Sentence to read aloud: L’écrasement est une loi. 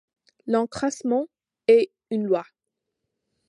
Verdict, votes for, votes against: accepted, 2, 1